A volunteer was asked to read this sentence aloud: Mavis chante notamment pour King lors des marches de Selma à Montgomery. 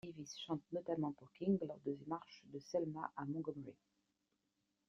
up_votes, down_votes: 0, 2